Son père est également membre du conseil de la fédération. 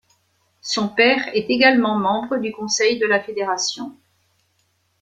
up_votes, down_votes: 2, 0